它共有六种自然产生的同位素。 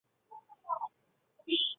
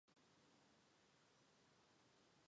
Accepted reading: second